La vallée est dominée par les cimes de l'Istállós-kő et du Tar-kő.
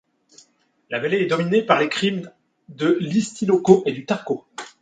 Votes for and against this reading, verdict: 2, 0, accepted